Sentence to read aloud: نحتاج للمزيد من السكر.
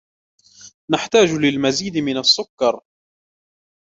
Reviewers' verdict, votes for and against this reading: accepted, 2, 1